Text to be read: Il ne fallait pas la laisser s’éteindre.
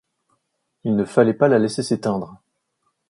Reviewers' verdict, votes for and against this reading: accepted, 2, 0